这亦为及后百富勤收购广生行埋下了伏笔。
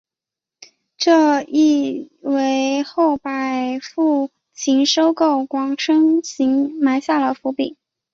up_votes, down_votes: 2, 0